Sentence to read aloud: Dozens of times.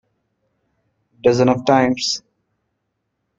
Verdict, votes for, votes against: rejected, 0, 2